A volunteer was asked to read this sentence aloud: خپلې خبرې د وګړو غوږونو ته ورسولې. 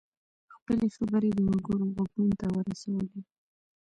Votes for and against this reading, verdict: 2, 0, accepted